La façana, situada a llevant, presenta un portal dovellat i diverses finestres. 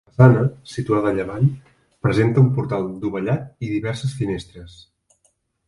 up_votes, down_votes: 1, 2